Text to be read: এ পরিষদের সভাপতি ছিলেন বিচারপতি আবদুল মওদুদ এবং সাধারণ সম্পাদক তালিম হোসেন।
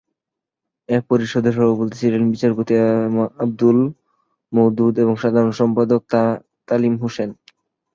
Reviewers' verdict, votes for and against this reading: rejected, 0, 2